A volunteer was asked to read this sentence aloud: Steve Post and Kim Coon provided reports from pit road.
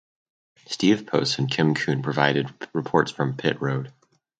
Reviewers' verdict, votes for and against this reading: accepted, 4, 0